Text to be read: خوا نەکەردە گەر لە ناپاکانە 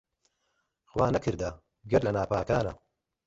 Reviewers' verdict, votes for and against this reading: accepted, 2, 0